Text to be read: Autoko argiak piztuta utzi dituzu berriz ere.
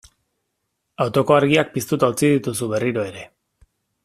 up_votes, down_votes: 0, 2